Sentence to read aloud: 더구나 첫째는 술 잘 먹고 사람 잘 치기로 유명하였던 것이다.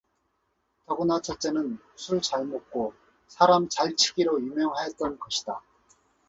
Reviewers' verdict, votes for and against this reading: accepted, 4, 0